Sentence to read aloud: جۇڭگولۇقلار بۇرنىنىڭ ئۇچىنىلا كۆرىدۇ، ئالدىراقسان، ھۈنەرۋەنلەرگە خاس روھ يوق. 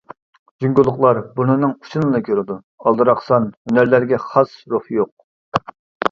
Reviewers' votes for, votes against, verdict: 0, 2, rejected